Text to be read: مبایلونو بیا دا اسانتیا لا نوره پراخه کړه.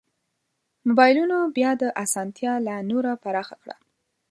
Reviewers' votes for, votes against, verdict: 3, 0, accepted